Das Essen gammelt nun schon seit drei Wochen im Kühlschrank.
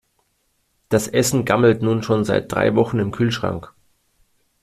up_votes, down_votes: 2, 0